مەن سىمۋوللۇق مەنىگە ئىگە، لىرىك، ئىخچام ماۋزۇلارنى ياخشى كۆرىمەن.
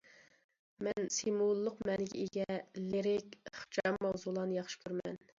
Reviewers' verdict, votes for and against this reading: accepted, 2, 0